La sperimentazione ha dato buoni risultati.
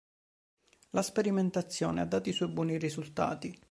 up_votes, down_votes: 1, 2